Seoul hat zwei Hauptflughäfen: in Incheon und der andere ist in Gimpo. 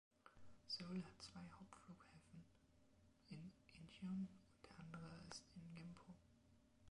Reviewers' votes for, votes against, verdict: 2, 0, accepted